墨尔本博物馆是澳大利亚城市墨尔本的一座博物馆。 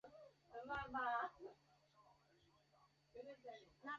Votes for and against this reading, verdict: 0, 3, rejected